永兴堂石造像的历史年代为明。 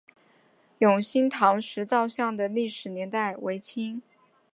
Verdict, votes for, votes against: rejected, 1, 3